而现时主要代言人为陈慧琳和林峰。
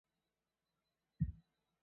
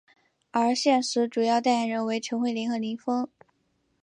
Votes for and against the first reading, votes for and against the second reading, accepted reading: 0, 3, 5, 0, second